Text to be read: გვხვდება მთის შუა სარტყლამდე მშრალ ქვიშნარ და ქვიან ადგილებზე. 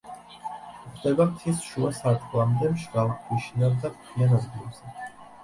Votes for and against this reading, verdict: 1, 2, rejected